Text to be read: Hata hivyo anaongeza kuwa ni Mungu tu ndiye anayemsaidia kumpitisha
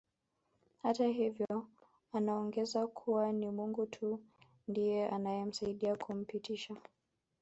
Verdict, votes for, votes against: accepted, 6, 0